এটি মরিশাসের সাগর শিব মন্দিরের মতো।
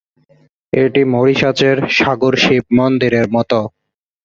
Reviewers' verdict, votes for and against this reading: rejected, 0, 2